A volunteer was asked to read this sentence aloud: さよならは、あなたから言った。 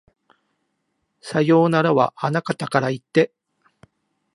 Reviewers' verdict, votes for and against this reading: rejected, 0, 2